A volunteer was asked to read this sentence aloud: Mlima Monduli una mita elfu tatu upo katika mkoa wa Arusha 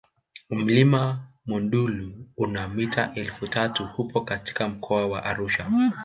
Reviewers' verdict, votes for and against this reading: rejected, 1, 2